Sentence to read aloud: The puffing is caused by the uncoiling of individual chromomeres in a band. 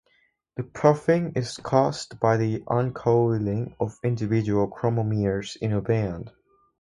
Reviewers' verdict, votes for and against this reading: accepted, 4, 0